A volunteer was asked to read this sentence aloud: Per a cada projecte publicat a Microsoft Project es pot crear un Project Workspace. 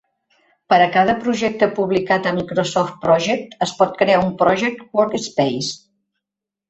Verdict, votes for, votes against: accepted, 2, 0